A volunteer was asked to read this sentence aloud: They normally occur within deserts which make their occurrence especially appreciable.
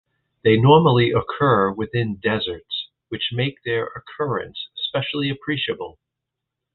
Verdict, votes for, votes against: accepted, 2, 0